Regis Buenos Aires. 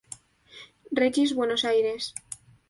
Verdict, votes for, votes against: accepted, 2, 0